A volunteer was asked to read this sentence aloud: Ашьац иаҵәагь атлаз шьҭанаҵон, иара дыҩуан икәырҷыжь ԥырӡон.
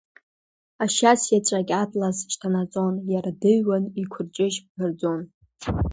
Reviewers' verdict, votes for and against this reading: accepted, 2, 1